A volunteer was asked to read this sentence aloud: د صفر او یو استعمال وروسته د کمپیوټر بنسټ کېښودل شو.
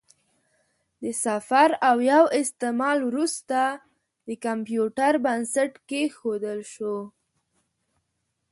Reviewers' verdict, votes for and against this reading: rejected, 1, 2